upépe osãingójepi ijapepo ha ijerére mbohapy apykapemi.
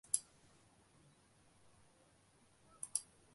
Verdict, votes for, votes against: rejected, 0, 2